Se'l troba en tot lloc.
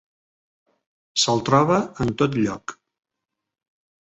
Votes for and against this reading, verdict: 3, 0, accepted